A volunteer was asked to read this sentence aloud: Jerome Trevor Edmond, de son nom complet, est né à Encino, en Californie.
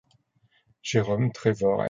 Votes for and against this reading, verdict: 0, 2, rejected